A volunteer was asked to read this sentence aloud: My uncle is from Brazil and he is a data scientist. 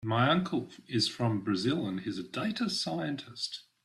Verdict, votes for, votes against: accepted, 2, 0